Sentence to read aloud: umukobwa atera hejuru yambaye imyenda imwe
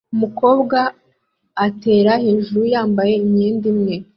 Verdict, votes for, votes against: accepted, 2, 0